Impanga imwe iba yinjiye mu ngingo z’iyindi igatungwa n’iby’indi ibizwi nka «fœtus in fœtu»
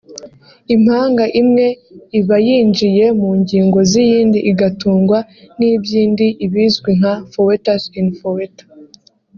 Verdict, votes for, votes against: accepted, 2, 0